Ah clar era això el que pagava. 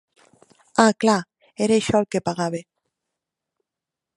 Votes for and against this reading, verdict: 2, 0, accepted